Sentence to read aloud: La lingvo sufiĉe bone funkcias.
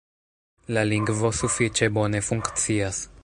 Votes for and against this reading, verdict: 1, 2, rejected